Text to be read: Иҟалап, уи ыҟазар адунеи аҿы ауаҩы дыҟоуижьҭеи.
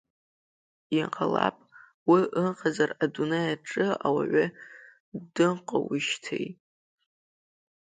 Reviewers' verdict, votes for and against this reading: rejected, 1, 2